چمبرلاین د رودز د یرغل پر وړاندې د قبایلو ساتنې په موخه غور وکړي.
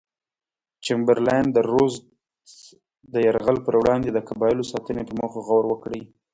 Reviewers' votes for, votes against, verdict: 0, 2, rejected